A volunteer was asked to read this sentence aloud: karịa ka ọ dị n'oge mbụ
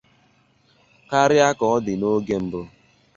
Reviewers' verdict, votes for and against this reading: accepted, 2, 0